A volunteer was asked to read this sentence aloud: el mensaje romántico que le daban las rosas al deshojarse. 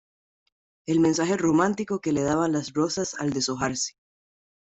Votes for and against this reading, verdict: 2, 0, accepted